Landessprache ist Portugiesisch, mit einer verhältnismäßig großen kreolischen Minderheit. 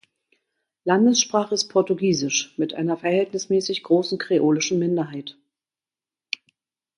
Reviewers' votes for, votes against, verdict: 4, 0, accepted